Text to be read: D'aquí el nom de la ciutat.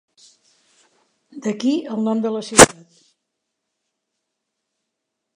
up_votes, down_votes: 0, 2